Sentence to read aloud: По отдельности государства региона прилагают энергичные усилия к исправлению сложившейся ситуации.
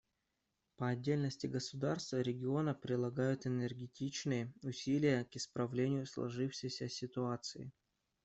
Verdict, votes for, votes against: rejected, 0, 2